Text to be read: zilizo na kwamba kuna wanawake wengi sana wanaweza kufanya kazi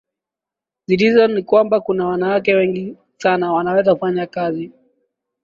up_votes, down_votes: 2, 0